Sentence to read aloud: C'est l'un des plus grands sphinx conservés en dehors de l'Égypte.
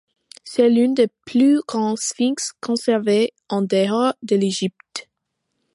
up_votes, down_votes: 2, 1